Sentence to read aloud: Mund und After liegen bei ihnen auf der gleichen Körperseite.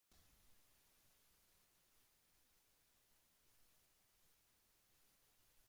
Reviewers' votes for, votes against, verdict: 0, 2, rejected